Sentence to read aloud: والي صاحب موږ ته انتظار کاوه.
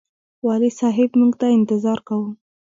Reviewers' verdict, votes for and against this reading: rejected, 1, 2